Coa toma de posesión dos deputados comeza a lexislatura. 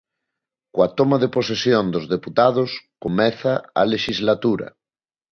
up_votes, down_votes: 2, 0